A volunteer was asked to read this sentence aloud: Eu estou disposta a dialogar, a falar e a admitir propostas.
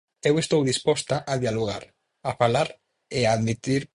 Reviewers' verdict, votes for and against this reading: rejected, 0, 4